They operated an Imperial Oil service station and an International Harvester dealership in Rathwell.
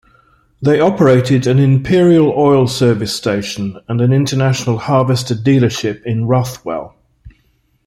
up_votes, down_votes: 2, 0